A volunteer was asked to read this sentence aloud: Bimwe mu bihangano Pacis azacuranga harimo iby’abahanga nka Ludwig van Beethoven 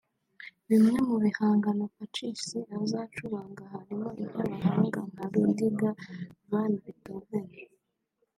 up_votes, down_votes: 1, 2